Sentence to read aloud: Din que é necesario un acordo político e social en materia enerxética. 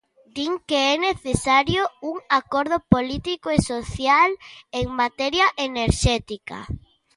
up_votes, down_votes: 2, 0